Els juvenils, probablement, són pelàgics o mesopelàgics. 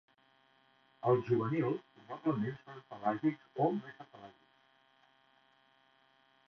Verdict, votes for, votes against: rejected, 1, 2